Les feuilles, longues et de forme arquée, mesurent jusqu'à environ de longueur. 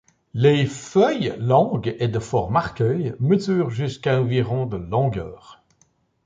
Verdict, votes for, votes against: rejected, 0, 2